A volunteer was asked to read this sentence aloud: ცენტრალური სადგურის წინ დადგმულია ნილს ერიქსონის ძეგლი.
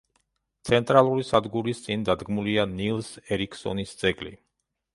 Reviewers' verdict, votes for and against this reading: accepted, 2, 0